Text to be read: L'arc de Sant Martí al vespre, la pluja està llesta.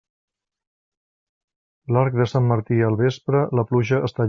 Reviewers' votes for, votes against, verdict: 1, 2, rejected